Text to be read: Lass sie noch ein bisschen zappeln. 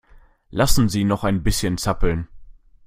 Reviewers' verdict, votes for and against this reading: rejected, 0, 2